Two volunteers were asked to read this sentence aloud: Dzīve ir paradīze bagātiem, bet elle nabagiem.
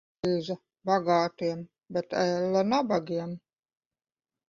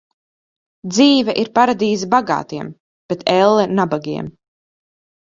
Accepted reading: second